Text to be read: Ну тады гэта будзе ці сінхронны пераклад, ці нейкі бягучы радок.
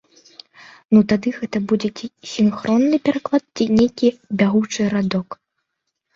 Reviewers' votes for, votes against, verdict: 2, 0, accepted